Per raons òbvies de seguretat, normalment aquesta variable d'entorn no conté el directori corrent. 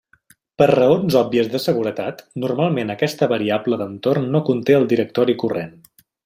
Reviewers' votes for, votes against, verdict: 3, 0, accepted